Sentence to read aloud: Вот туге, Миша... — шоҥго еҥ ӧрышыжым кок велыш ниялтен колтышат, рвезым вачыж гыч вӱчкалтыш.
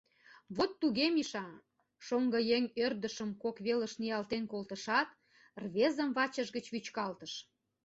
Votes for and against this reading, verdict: 1, 2, rejected